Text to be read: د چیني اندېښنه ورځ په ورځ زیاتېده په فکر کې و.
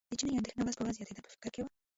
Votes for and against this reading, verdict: 0, 2, rejected